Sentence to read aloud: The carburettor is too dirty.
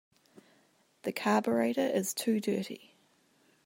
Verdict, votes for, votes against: accepted, 2, 0